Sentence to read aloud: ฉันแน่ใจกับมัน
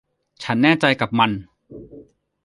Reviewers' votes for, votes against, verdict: 2, 0, accepted